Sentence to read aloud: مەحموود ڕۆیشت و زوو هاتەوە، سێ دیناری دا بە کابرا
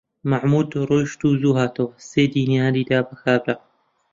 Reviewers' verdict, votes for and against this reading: rejected, 1, 2